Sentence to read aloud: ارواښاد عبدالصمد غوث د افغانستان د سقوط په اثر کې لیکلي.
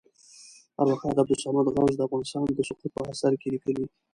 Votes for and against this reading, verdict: 2, 0, accepted